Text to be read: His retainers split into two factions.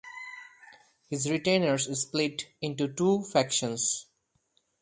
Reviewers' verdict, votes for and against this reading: accepted, 4, 0